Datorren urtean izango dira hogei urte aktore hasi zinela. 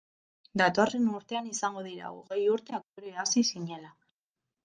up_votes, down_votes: 2, 0